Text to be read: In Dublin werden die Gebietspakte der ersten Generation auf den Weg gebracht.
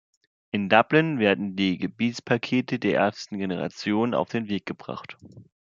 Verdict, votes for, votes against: rejected, 1, 2